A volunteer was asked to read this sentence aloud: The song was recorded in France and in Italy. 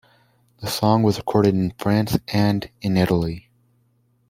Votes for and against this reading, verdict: 2, 0, accepted